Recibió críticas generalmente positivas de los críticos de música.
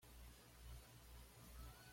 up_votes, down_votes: 1, 2